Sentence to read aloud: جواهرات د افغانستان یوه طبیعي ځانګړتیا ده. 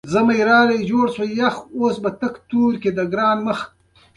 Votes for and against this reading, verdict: 2, 1, accepted